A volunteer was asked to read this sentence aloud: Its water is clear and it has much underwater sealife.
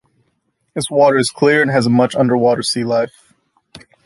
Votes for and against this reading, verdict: 1, 2, rejected